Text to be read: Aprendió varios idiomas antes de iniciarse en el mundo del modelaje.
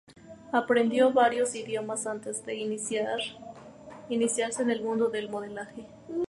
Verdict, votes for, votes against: accepted, 2, 0